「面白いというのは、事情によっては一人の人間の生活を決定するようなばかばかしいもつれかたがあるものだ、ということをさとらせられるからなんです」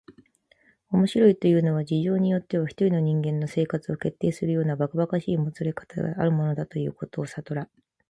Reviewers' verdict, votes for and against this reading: rejected, 0, 2